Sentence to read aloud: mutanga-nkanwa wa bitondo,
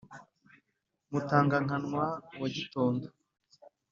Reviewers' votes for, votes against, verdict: 2, 0, accepted